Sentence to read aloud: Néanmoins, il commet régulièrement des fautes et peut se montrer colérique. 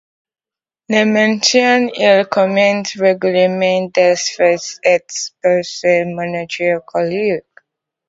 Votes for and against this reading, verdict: 1, 2, rejected